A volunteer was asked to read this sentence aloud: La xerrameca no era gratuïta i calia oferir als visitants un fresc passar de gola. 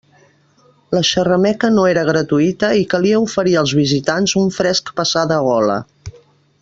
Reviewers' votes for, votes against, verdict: 3, 0, accepted